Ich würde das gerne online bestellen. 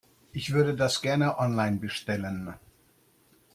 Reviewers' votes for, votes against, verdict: 2, 0, accepted